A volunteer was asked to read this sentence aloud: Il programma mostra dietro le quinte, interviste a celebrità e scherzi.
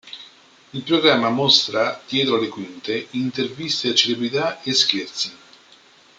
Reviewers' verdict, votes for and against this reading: rejected, 0, 2